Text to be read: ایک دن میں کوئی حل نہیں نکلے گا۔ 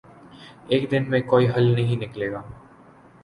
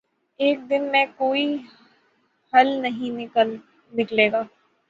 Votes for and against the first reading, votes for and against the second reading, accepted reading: 4, 1, 3, 3, first